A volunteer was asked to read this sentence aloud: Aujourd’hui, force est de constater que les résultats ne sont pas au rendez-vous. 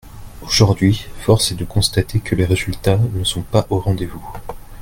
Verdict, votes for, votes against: accepted, 2, 1